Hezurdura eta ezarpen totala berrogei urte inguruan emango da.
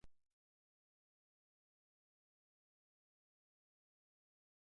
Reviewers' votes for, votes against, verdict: 0, 2, rejected